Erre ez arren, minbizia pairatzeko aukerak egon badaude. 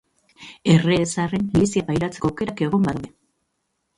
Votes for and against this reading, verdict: 0, 2, rejected